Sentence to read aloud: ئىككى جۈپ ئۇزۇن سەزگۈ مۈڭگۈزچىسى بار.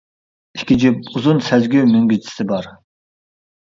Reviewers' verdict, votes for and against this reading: accepted, 2, 0